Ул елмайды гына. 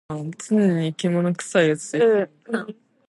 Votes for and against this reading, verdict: 0, 2, rejected